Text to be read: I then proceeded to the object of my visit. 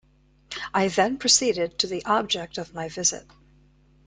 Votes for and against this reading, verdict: 2, 0, accepted